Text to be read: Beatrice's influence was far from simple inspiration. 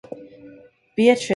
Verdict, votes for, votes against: rejected, 0, 2